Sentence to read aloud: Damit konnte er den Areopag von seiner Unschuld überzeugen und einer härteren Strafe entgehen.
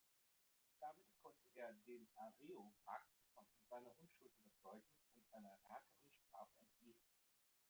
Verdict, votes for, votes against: rejected, 1, 2